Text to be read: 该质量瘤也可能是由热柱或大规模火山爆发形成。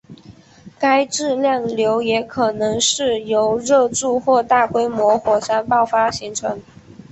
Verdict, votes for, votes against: accepted, 7, 0